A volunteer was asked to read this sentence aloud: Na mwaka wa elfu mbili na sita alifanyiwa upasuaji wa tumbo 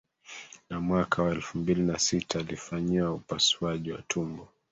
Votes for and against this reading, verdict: 2, 1, accepted